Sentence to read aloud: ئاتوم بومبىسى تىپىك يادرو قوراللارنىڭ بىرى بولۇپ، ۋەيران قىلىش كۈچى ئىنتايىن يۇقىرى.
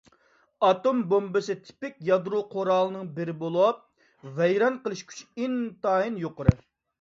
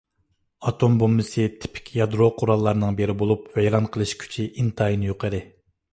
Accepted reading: second